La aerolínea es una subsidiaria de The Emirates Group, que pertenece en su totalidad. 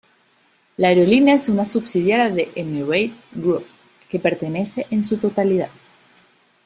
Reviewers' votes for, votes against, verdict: 0, 2, rejected